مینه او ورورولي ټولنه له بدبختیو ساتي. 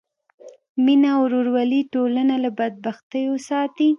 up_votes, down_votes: 2, 0